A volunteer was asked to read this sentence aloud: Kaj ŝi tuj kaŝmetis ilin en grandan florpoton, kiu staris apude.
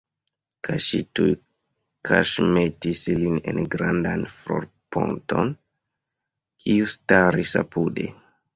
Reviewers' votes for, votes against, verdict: 0, 2, rejected